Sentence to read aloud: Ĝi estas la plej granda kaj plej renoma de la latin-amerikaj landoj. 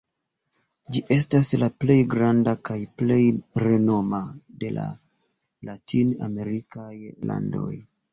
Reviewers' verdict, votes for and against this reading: rejected, 0, 2